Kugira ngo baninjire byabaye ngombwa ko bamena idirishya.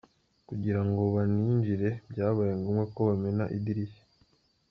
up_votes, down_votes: 2, 1